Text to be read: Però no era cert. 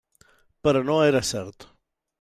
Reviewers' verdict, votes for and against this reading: accepted, 3, 0